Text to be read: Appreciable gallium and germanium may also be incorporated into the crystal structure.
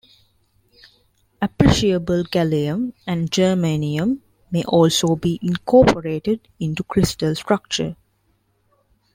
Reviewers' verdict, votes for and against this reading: rejected, 0, 2